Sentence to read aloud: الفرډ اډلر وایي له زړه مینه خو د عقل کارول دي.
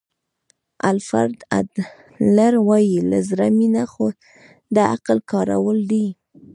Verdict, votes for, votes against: rejected, 1, 2